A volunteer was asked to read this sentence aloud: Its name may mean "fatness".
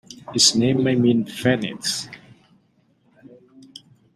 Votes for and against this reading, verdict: 0, 2, rejected